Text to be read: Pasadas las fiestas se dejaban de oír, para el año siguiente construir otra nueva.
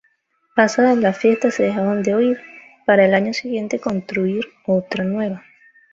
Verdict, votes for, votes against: accepted, 2, 0